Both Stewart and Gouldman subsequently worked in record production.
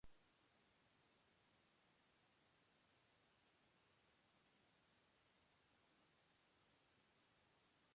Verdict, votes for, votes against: rejected, 0, 2